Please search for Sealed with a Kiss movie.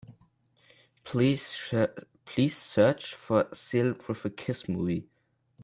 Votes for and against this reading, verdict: 0, 2, rejected